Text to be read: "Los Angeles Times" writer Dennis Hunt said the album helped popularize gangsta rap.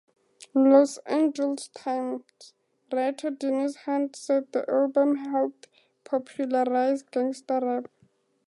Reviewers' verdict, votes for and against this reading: accepted, 2, 0